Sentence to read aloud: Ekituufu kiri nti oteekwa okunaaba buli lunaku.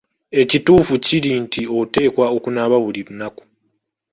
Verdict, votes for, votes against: accepted, 2, 0